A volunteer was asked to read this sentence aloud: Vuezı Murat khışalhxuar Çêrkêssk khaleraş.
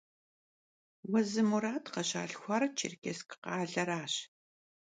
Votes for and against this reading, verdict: 2, 0, accepted